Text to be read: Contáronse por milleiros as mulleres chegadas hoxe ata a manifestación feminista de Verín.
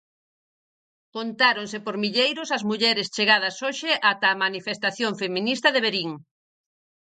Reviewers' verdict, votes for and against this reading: accepted, 4, 0